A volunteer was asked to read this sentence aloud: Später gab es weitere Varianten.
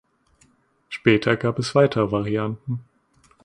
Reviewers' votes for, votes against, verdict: 2, 0, accepted